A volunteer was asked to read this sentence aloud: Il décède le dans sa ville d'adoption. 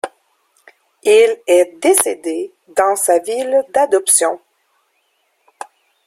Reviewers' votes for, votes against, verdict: 0, 2, rejected